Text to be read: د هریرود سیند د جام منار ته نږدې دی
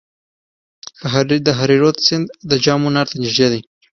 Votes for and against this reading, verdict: 2, 0, accepted